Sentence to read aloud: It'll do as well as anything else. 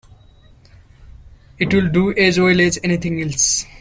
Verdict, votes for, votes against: rejected, 1, 2